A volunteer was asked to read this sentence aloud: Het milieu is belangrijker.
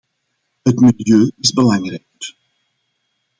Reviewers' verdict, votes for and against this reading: rejected, 1, 2